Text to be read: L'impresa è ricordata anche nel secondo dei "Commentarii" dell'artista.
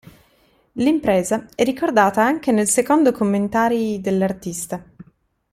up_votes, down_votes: 1, 2